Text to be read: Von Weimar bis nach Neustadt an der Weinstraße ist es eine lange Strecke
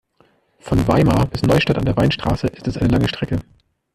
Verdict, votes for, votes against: rejected, 0, 2